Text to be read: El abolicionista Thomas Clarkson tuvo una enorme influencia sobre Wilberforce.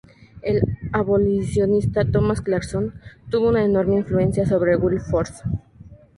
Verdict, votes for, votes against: rejected, 0, 2